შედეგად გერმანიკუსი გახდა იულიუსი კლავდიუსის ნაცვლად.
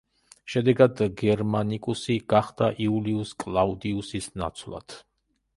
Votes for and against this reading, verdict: 0, 2, rejected